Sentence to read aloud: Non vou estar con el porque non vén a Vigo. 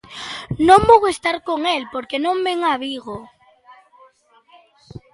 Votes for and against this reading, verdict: 2, 0, accepted